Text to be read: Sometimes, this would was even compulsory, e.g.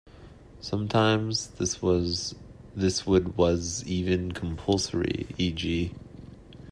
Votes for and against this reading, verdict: 0, 2, rejected